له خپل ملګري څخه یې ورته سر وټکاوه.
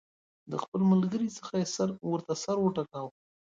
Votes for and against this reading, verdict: 2, 1, accepted